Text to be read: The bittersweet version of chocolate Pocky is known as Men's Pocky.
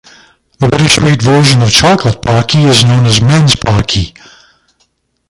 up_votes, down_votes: 1, 2